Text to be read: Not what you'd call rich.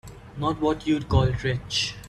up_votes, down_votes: 2, 0